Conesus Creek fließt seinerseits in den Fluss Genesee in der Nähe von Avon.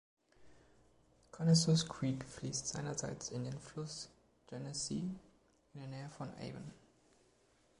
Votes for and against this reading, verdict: 2, 0, accepted